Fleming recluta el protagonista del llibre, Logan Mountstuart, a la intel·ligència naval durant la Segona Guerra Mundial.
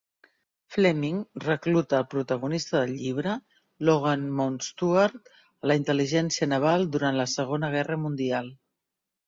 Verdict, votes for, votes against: rejected, 1, 2